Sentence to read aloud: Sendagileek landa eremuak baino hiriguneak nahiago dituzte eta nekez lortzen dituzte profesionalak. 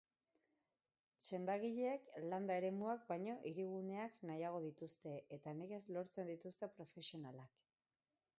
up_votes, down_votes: 0, 2